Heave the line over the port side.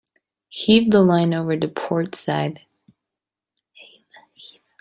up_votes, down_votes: 1, 2